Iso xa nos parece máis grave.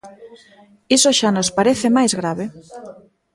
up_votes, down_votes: 1, 2